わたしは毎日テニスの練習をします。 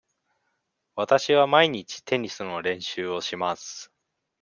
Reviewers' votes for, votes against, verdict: 2, 0, accepted